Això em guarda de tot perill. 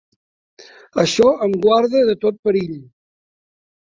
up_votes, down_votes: 3, 0